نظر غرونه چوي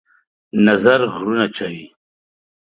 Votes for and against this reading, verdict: 2, 0, accepted